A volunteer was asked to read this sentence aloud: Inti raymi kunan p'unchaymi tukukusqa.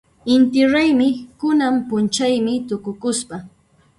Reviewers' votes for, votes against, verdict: 1, 2, rejected